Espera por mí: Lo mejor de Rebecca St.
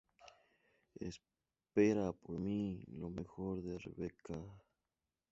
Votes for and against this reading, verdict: 0, 2, rejected